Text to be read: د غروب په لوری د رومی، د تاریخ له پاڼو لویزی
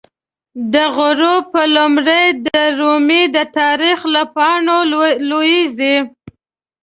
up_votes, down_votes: 1, 2